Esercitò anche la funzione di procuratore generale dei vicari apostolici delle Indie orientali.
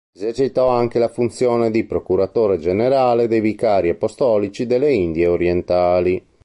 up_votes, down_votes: 2, 0